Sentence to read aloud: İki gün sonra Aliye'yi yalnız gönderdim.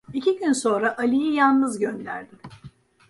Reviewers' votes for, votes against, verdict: 1, 2, rejected